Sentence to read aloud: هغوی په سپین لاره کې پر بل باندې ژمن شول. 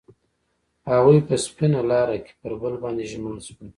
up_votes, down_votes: 2, 0